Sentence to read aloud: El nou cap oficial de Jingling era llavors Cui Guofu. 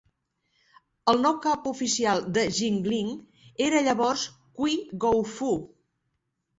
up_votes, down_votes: 0, 2